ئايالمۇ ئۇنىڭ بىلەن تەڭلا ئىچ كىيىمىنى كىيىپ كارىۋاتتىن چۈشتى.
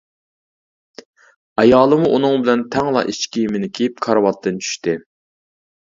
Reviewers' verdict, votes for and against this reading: rejected, 1, 2